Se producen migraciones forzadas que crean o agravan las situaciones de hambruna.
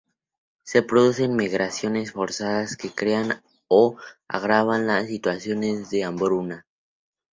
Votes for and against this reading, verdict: 2, 0, accepted